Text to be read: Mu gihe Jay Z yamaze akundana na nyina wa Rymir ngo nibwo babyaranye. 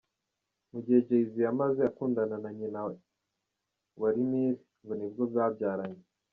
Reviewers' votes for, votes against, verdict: 2, 0, accepted